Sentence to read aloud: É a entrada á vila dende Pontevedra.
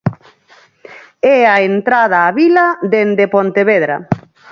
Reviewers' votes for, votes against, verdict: 4, 2, accepted